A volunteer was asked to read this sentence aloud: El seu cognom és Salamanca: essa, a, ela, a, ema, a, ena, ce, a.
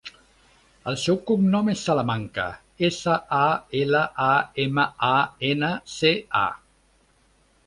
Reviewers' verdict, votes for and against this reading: accepted, 3, 0